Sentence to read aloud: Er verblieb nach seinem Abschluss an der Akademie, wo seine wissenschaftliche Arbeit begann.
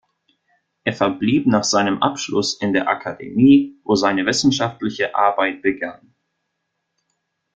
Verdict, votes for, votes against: rejected, 0, 2